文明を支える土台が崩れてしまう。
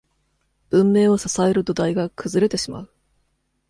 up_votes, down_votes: 2, 0